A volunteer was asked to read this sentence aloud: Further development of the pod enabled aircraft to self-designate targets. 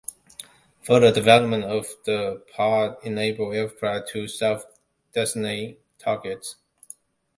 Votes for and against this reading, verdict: 0, 2, rejected